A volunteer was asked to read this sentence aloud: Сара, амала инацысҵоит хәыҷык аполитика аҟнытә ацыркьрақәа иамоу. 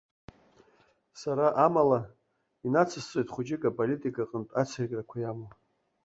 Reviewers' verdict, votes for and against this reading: accepted, 3, 0